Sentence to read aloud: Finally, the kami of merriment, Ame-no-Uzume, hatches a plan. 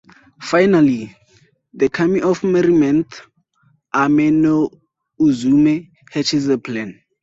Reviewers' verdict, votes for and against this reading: accepted, 2, 0